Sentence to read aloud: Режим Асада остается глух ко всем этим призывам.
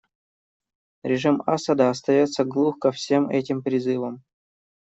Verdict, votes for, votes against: accepted, 2, 0